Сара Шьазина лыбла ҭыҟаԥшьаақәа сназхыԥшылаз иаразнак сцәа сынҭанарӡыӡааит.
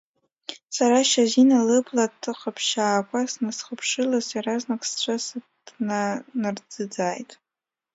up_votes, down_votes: 1, 2